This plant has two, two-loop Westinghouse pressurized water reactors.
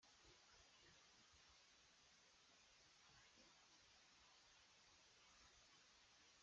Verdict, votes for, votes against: rejected, 0, 2